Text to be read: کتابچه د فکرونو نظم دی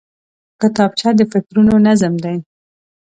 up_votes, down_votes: 2, 1